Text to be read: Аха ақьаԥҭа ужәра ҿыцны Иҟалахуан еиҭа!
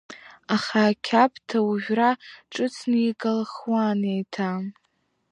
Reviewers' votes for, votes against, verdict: 1, 2, rejected